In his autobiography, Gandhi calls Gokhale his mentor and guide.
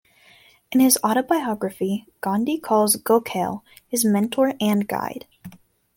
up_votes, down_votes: 2, 0